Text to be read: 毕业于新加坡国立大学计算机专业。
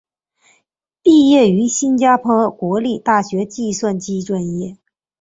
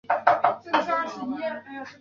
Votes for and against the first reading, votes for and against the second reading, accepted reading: 3, 1, 0, 2, first